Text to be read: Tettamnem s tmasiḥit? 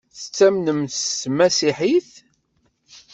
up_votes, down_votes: 2, 0